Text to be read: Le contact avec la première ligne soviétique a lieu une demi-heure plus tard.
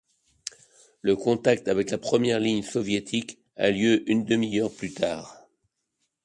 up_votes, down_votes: 2, 0